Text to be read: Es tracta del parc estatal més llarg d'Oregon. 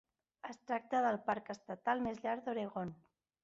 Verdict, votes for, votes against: accepted, 3, 0